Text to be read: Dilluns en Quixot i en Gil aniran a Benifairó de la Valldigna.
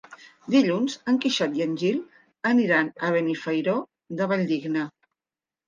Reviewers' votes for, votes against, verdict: 1, 2, rejected